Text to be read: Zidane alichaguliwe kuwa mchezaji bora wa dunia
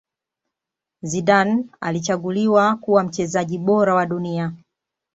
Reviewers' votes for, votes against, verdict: 2, 0, accepted